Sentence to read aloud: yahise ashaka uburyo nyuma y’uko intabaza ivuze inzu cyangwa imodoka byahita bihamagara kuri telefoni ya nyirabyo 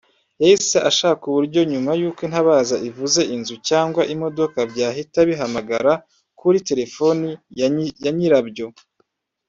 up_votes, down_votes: 0, 2